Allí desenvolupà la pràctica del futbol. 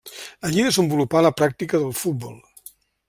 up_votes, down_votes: 0, 2